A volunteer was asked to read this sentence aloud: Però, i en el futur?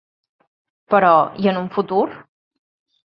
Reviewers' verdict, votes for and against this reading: rejected, 0, 2